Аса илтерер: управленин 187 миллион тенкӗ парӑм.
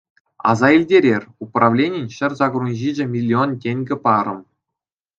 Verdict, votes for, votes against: rejected, 0, 2